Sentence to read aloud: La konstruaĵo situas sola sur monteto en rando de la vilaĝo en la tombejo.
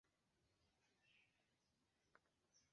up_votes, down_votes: 0, 2